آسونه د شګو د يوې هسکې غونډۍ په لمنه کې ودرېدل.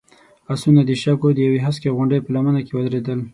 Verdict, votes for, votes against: accepted, 6, 0